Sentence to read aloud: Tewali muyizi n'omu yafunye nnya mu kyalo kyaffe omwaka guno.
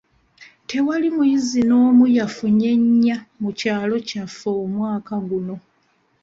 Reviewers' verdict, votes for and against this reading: accepted, 2, 0